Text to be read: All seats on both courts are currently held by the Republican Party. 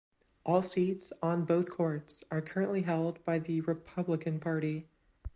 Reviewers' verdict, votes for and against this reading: accepted, 2, 0